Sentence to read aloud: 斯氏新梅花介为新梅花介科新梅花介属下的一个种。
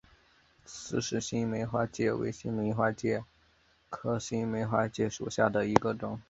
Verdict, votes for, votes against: accepted, 2, 0